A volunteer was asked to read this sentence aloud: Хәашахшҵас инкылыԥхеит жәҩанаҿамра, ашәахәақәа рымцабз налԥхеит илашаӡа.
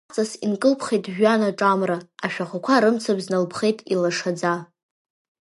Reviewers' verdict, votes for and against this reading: rejected, 0, 2